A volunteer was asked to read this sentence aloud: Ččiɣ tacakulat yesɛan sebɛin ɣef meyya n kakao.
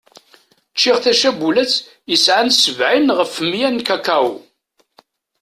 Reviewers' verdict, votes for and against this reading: rejected, 1, 2